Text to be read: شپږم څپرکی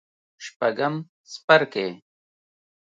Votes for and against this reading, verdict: 1, 2, rejected